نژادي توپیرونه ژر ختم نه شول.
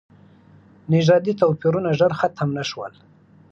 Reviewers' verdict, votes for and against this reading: accepted, 2, 0